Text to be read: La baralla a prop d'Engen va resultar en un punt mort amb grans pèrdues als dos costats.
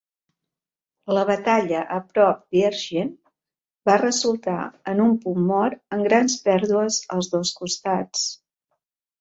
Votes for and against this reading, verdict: 2, 0, accepted